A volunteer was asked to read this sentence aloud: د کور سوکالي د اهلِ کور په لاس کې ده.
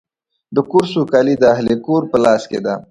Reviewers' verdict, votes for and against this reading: accepted, 2, 0